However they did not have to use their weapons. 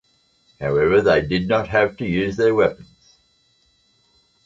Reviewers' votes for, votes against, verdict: 1, 2, rejected